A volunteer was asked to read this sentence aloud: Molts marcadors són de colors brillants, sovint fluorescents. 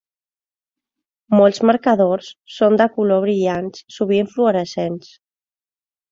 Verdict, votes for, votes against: rejected, 1, 2